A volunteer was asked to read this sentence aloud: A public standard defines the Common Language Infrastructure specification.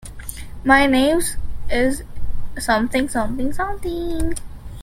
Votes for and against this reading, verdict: 0, 2, rejected